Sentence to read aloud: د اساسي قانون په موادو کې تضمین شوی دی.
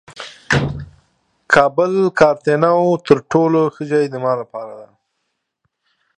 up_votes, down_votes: 0, 2